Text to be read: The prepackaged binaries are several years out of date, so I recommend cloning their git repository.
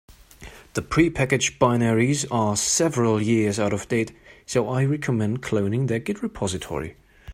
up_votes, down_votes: 3, 0